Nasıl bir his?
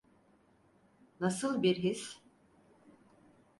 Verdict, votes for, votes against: accepted, 4, 0